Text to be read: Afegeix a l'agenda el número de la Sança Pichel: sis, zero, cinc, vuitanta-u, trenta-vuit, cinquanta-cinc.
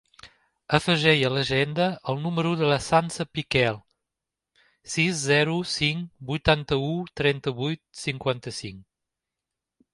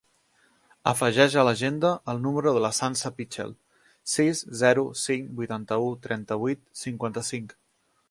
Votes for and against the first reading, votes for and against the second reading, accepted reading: 2, 4, 3, 0, second